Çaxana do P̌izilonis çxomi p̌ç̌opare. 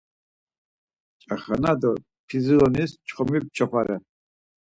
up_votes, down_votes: 4, 0